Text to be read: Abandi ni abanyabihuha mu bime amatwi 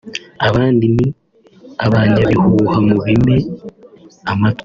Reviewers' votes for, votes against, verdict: 2, 0, accepted